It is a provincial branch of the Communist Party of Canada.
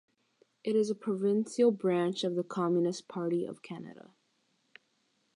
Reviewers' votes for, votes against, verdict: 3, 0, accepted